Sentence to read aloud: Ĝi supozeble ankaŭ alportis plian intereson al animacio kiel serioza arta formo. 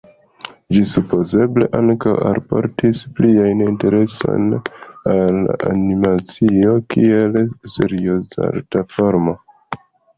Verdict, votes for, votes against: accepted, 2, 0